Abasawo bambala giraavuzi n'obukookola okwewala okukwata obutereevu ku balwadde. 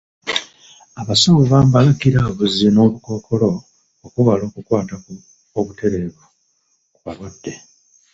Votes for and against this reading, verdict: 2, 1, accepted